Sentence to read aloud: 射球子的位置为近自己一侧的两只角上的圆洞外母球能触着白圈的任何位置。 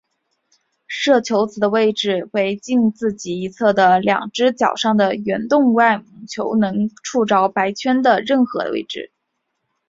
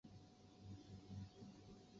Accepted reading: first